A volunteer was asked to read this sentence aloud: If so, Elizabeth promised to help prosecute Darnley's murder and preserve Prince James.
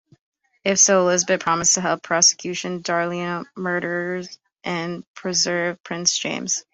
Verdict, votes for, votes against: rejected, 0, 2